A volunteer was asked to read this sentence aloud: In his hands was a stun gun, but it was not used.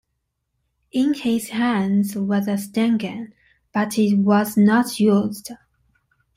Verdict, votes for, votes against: accepted, 2, 1